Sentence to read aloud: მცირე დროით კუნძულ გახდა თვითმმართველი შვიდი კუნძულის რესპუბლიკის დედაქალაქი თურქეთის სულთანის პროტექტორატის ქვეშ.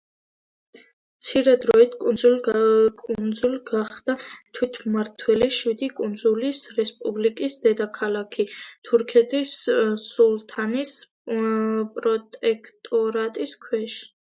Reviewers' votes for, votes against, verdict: 1, 2, rejected